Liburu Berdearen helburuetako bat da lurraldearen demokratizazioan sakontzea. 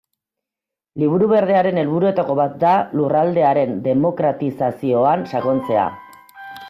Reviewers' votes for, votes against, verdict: 0, 2, rejected